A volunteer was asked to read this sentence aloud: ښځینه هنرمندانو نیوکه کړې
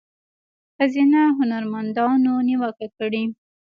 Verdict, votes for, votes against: accepted, 2, 0